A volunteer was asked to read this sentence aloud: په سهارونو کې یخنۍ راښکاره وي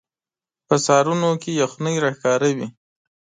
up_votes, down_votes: 2, 0